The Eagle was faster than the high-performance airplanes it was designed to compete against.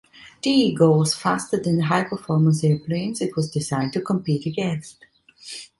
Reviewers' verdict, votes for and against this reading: rejected, 1, 2